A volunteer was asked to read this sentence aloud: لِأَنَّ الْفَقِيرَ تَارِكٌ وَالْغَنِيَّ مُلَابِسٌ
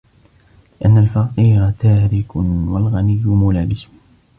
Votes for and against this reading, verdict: 2, 1, accepted